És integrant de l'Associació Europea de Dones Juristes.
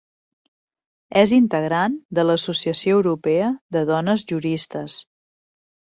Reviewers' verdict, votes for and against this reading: accepted, 3, 0